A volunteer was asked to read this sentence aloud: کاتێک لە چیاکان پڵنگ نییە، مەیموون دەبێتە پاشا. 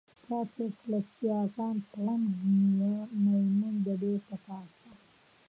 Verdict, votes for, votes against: rejected, 0, 3